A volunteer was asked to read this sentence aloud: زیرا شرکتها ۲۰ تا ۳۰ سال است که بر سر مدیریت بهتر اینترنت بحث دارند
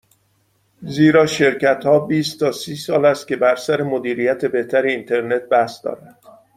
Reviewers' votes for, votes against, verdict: 0, 2, rejected